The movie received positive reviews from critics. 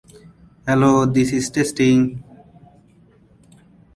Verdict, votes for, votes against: rejected, 1, 2